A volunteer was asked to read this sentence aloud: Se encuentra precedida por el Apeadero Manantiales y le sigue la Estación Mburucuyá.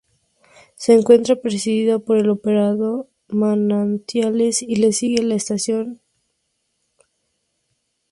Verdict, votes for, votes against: rejected, 0, 2